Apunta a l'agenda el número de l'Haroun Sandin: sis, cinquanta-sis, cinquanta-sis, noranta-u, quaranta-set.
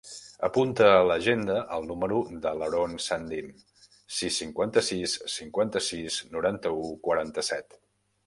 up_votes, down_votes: 1, 2